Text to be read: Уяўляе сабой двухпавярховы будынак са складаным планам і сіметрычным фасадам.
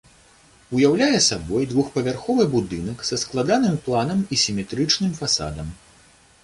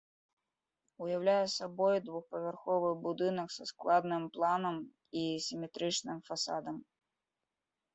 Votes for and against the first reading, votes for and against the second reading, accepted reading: 2, 0, 1, 2, first